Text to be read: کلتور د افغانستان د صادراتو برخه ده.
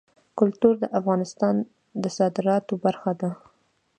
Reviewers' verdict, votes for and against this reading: accepted, 2, 1